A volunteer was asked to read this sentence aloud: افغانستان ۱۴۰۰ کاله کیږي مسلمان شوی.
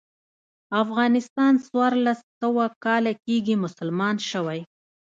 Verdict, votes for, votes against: rejected, 0, 2